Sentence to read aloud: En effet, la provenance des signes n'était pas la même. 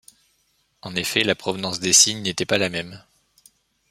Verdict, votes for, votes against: accepted, 2, 0